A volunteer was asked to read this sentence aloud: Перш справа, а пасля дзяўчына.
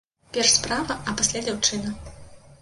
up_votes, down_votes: 2, 0